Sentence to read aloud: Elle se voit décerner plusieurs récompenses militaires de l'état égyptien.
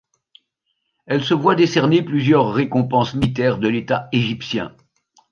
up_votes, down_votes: 0, 2